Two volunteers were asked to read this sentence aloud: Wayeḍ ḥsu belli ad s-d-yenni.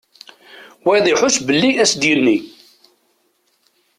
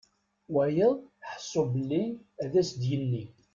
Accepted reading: second